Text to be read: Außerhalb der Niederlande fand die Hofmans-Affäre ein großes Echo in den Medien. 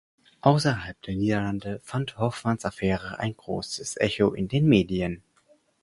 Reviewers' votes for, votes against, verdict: 0, 4, rejected